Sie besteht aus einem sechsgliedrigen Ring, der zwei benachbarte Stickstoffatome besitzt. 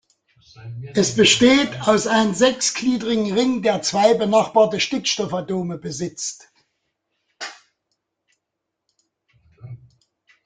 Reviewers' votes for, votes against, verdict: 0, 2, rejected